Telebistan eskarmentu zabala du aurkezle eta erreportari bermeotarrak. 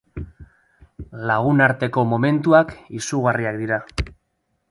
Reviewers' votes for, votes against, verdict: 0, 3, rejected